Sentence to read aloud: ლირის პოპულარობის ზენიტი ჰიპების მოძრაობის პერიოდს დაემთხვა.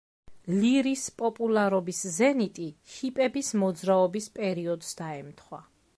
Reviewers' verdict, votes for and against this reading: accepted, 2, 0